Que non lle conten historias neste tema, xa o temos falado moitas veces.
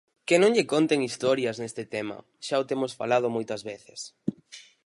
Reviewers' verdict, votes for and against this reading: accepted, 4, 0